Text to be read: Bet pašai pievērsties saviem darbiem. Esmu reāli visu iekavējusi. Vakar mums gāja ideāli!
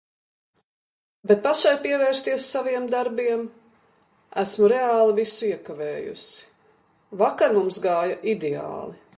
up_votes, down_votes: 2, 0